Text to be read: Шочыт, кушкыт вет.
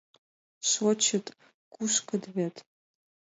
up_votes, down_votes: 5, 0